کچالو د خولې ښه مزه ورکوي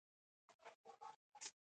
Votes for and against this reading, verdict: 1, 2, rejected